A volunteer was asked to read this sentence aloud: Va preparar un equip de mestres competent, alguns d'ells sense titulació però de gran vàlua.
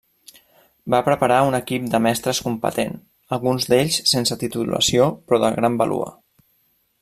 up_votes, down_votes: 0, 2